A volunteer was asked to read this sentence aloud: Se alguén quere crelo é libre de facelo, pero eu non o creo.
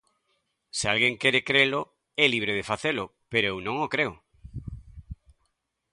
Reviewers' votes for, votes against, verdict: 2, 0, accepted